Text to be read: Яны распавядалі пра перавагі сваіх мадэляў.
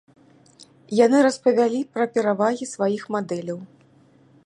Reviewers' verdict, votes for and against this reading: rejected, 0, 2